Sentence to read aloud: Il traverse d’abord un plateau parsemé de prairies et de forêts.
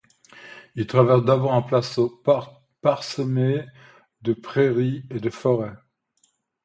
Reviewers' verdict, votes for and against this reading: rejected, 1, 2